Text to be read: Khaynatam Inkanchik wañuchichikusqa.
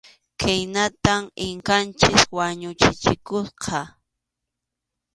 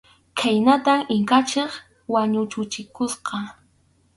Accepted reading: first